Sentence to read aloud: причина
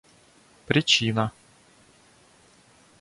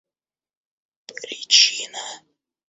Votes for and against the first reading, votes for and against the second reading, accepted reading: 2, 0, 1, 2, first